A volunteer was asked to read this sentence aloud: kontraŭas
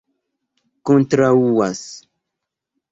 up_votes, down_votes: 2, 0